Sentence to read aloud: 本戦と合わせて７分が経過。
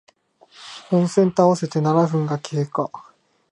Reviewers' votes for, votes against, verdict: 0, 2, rejected